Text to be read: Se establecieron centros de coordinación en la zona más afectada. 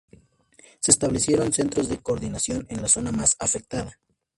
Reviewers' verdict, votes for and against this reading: accepted, 2, 0